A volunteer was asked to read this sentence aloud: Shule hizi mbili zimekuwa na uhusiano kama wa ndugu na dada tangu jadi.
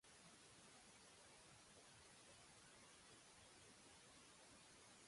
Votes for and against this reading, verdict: 0, 2, rejected